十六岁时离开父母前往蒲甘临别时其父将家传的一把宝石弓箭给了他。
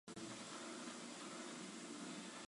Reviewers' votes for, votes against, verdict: 1, 2, rejected